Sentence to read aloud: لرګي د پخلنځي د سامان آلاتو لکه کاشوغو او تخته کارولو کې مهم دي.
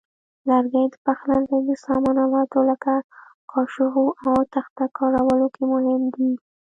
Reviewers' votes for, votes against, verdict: 2, 1, accepted